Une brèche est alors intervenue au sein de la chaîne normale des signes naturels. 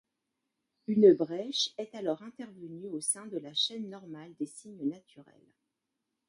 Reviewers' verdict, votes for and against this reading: rejected, 1, 2